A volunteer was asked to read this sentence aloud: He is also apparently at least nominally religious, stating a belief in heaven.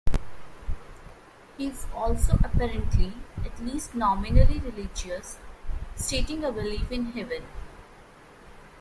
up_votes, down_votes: 2, 1